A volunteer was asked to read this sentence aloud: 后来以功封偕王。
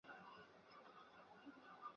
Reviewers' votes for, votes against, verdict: 0, 2, rejected